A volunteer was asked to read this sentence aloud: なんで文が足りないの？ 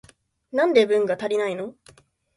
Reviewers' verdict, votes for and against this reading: accepted, 2, 0